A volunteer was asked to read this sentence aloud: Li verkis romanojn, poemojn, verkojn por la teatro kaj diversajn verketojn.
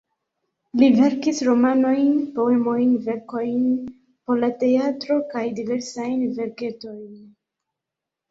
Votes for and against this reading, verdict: 1, 2, rejected